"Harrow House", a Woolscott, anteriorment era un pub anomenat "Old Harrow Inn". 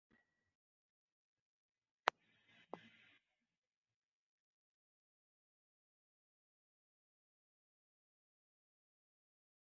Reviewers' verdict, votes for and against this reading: rejected, 0, 2